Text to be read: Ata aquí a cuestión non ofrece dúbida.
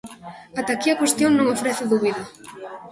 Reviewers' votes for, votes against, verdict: 2, 1, accepted